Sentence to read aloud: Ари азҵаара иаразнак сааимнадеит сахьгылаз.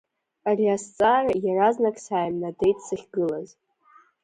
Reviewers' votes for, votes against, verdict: 2, 0, accepted